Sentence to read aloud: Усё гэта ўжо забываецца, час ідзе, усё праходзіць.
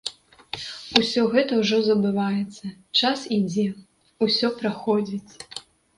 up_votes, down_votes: 2, 1